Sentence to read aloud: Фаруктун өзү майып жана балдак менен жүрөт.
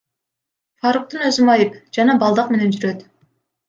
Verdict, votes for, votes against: rejected, 1, 2